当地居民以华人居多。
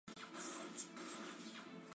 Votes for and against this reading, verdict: 0, 2, rejected